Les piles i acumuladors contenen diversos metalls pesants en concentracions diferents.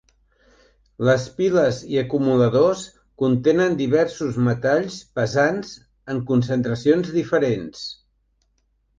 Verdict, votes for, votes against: accepted, 2, 0